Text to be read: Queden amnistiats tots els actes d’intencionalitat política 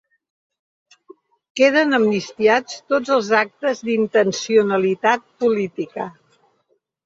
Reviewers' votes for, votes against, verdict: 3, 0, accepted